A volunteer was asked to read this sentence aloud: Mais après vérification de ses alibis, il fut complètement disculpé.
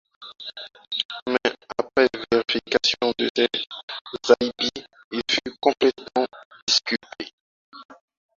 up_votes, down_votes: 0, 4